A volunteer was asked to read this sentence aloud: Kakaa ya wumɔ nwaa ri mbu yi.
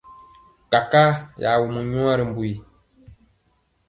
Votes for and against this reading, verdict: 2, 0, accepted